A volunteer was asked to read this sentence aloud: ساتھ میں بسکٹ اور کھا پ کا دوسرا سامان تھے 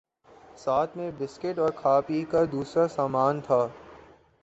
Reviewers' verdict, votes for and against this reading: accepted, 2, 1